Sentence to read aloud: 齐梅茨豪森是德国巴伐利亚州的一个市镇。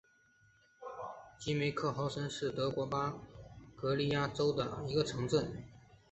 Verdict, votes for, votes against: rejected, 0, 2